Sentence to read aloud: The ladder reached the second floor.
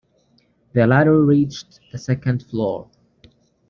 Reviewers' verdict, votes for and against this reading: accepted, 2, 0